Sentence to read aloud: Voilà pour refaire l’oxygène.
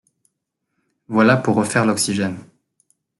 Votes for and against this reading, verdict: 3, 0, accepted